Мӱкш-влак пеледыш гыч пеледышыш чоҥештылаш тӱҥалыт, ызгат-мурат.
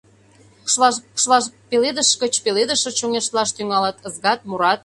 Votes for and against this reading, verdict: 0, 2, rejected